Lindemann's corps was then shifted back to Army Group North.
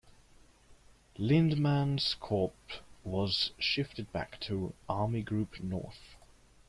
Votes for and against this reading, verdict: 0, 2, rejected